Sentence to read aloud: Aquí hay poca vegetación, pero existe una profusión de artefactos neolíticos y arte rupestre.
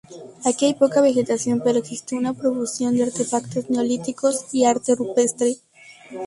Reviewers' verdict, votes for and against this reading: rejected, 0, 2